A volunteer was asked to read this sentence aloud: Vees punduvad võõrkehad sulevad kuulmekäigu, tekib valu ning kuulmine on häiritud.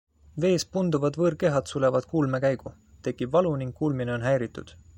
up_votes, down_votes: 2, 1